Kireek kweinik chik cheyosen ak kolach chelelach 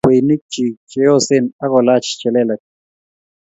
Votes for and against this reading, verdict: 1, 2, rejected